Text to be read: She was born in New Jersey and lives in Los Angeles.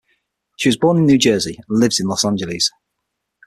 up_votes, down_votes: 6, 0